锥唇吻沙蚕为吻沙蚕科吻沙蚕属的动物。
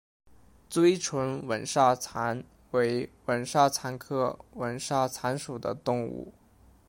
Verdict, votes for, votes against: accepted, 2, 0